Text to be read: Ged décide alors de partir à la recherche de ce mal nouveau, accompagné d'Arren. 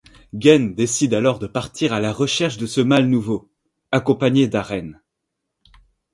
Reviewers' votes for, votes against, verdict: 1, 2, rejected